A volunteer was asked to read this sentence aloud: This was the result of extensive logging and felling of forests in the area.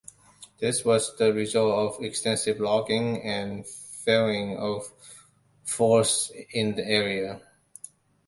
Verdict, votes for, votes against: rejected, 1, 2